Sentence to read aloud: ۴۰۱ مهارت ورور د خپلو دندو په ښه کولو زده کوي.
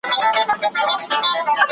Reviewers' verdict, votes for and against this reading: rejected, 0, 2